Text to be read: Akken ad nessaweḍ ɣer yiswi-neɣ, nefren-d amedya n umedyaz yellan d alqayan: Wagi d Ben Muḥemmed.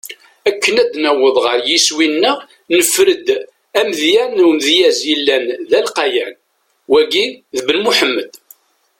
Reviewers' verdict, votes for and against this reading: rejected, 1, 2